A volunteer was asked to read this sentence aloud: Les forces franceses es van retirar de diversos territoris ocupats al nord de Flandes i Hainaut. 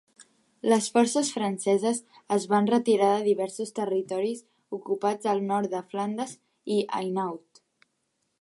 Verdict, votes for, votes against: accepted, 2, 0